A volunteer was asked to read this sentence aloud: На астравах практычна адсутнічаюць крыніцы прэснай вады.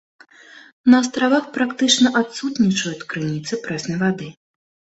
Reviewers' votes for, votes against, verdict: 2, 0, accepted